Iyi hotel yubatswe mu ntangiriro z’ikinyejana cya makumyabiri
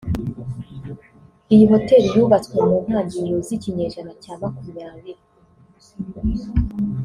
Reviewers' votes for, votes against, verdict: 2, 0, accepted